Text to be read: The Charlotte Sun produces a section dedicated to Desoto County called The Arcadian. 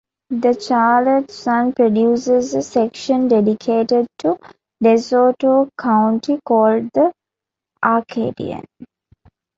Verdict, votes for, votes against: rejected, 1, 2